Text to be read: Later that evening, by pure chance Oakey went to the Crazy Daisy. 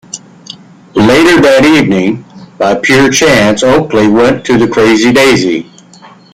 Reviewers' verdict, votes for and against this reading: rejected, 1, 2